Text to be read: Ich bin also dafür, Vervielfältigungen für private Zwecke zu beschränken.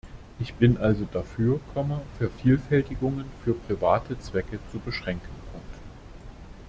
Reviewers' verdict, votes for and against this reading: rejected, 0, 2